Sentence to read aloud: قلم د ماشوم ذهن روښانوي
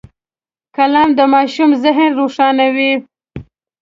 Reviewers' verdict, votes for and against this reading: accepted, 2, 0